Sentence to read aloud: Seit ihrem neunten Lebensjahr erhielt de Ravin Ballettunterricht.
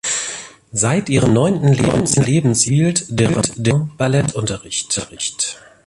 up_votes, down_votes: 0, 2